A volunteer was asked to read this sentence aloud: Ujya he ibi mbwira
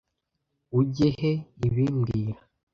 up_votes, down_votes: 0, 2